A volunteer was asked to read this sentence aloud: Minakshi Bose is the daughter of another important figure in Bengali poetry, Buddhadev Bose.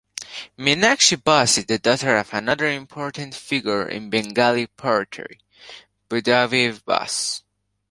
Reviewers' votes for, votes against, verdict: 2, 1, accepted